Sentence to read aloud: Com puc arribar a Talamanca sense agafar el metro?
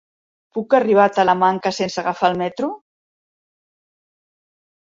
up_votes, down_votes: 0, 2